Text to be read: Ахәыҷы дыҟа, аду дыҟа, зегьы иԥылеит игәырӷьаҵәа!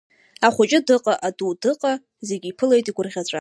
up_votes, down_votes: 1, 2